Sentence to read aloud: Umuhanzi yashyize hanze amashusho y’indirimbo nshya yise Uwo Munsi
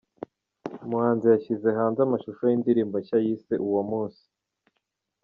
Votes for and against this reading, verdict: 3, 0, accepted